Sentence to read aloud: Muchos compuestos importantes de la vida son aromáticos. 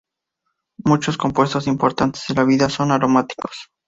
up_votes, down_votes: 0, 2